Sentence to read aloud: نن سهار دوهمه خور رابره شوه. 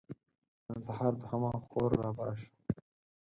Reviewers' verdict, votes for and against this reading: accepted, 4, 0